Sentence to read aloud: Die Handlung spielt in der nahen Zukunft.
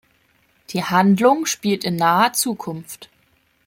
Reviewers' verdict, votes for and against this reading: rejected, 0, 2